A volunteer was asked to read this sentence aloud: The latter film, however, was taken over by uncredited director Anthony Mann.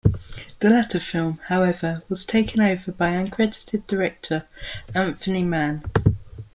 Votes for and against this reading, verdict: 2, 0, accepted